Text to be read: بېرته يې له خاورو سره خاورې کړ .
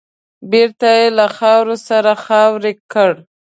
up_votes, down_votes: 2, 0